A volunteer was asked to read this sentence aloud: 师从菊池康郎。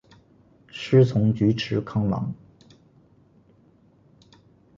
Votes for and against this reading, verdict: 2, 1, accepted